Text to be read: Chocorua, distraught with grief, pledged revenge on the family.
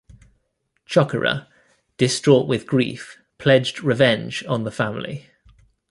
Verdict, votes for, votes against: accepted, 2, 0